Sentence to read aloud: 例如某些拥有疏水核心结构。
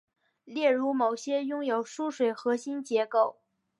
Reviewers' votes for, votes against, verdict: 5, 0, accepted